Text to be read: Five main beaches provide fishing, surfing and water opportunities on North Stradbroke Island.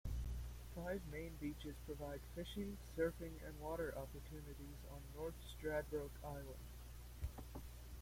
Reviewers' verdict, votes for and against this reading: rejected, 0, 2